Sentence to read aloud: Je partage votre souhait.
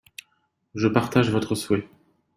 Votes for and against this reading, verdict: 2, 1, accepted